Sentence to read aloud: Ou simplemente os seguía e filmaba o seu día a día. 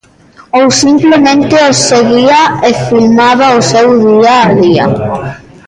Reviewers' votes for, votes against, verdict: 0, 2, rejected